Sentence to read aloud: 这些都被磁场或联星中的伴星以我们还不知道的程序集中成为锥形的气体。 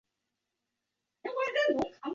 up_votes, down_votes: 3, 4